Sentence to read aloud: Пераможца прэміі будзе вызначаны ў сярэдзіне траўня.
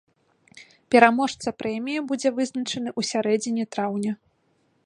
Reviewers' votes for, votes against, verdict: 0, 2, rejected